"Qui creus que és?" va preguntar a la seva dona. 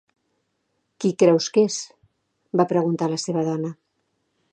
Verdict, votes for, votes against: accepted, 2, 0